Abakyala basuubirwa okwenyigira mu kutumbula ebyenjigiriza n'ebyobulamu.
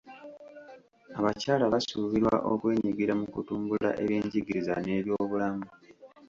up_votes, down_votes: 2, 1